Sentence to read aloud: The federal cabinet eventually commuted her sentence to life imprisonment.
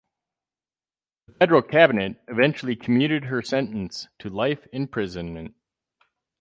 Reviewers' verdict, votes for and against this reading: rejected, 2, 2